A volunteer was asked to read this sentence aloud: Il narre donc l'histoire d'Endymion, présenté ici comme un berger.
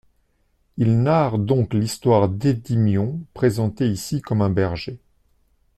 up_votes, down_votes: 0, 2